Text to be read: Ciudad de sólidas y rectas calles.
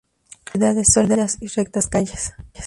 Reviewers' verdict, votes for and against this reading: rejected, 0, 2